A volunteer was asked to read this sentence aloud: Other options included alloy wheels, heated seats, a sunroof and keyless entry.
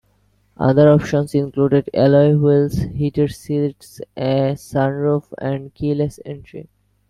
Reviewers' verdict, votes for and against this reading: accepted, 2, 0